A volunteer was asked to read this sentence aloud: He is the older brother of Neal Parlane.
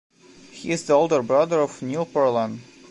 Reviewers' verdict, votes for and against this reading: rejected, 1, 3